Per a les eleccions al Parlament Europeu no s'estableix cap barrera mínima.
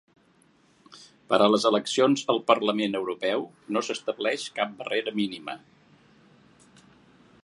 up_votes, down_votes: 2, 0